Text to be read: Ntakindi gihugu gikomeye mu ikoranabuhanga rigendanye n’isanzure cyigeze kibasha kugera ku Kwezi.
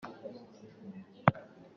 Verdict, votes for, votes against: rejected, 0, 2